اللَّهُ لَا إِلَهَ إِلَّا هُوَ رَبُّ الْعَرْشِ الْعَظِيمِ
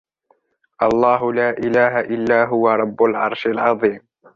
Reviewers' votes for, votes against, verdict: 1, 2, rejected